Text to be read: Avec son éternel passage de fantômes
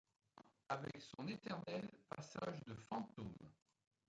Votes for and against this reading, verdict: 0, 2, rejected